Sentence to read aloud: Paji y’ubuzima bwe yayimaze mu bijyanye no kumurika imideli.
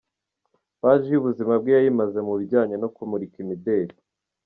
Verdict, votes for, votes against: accepted, 2, 0